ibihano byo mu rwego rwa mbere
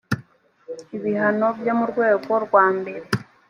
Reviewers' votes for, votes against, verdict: 2, 0, accepted